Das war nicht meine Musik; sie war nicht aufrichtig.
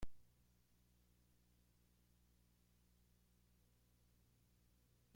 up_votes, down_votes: 0, 2